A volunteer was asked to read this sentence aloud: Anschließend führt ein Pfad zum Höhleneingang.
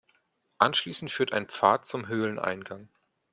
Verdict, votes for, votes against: accepted, 2, 0